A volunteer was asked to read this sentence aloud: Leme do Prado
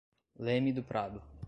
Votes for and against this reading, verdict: 2, 0, accepted